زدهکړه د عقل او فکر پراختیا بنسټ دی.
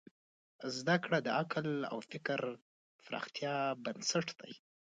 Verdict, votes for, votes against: accepted, 2, 1